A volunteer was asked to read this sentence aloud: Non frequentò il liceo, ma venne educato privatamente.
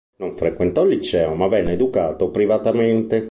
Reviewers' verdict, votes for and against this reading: accepted, 2, 0